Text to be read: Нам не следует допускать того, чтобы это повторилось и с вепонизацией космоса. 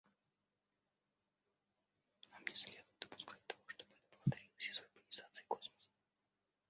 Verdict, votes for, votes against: rejected, 0, 2